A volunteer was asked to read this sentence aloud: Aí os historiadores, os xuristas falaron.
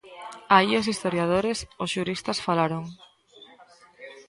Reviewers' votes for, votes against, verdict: 2, 0, accepted